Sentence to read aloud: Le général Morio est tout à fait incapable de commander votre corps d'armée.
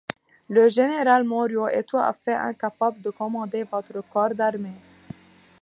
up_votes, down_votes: 2, 1